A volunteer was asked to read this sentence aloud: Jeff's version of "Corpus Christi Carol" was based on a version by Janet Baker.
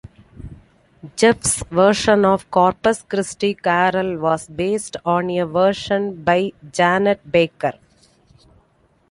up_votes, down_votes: 2, 0